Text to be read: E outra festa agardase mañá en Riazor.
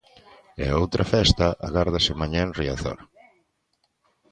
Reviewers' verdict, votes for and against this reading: rejected, 0, 2